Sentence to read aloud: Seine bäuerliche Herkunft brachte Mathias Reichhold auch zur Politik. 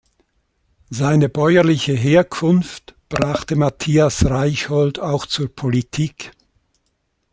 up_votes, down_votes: 2, 0